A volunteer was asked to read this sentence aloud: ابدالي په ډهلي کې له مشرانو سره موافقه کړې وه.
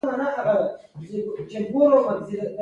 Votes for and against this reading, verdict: 0, 2, rejected